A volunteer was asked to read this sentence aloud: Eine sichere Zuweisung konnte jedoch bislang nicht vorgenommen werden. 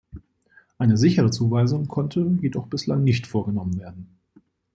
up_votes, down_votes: 2, 0